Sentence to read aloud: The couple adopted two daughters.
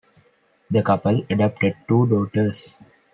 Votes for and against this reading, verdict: 2, 0, accepted